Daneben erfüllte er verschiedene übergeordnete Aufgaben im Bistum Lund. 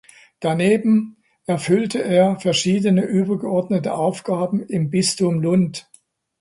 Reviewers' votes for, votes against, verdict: 2, 0, accepted